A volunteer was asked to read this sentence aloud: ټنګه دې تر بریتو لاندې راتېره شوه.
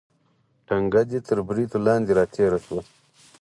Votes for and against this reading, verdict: 4, 0, accepted